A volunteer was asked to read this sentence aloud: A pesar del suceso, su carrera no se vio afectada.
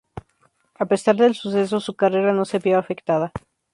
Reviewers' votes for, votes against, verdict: 0, 2, rejected